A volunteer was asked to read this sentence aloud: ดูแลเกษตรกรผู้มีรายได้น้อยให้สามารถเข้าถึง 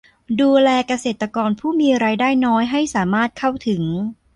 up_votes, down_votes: 2, 0